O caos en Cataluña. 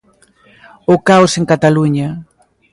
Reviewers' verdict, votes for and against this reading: accepted, 2, 0